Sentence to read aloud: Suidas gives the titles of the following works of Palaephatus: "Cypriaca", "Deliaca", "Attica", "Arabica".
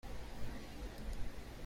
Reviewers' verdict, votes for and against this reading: rejected, 0, 2